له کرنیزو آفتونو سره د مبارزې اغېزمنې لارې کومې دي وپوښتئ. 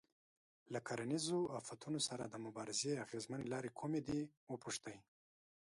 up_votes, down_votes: 1, 2